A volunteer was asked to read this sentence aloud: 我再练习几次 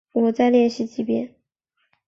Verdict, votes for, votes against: rejected, 1, 2